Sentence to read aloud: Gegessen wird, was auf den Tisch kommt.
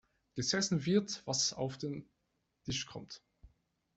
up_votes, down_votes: 0, 2